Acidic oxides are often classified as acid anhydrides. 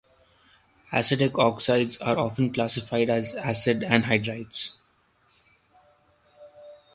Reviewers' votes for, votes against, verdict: 1, 2, rejected